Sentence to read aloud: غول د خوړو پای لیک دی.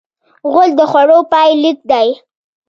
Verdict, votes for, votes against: accepted, 2, 0